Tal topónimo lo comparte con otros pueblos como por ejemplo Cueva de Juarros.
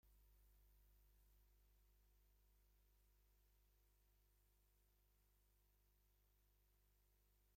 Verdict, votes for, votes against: rejected, 0, 2